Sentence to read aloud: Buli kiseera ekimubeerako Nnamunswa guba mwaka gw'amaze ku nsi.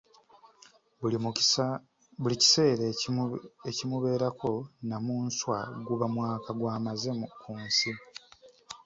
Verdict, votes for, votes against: rejected, 1, 2